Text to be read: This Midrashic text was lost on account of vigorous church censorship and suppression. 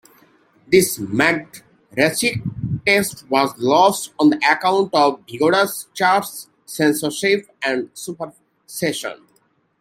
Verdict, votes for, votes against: rejected, 0, 2